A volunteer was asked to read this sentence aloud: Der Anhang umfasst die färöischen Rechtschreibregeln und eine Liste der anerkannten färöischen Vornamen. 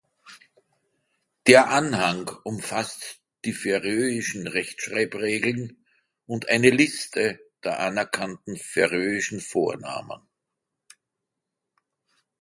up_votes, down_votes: 2, 0